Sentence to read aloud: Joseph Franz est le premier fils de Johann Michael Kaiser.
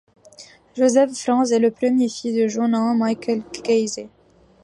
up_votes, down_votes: 1, 2